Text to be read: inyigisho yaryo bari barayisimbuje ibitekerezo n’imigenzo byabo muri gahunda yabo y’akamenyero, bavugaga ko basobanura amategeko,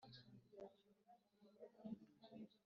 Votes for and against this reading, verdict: 0, 2, rejected